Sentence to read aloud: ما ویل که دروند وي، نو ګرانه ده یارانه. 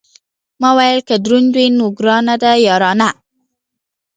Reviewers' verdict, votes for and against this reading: accepted, 2, 0